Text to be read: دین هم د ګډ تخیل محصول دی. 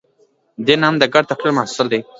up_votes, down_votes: 0, 2